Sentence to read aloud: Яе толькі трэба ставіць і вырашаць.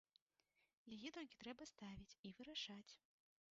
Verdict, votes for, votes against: rejected, 1, 2